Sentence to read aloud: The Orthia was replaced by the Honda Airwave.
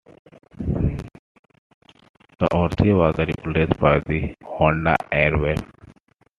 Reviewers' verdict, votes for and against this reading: accepted, 2, 1